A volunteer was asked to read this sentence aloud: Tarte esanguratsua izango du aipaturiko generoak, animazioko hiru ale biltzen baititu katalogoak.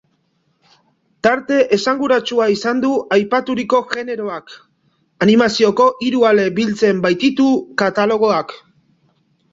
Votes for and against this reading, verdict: 2, 2, rejected